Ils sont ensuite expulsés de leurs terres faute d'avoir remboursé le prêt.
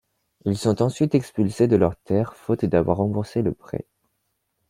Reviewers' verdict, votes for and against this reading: accepted, 2, 0